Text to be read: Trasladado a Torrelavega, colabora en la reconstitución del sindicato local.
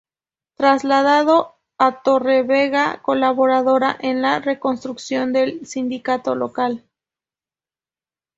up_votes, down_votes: 0, 2